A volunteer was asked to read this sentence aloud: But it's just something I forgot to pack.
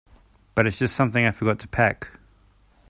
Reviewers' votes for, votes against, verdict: 2, 0, accepted